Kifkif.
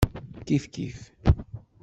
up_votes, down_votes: 2, 0